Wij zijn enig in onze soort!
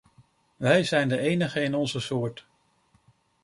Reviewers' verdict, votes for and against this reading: rejected, 1, 2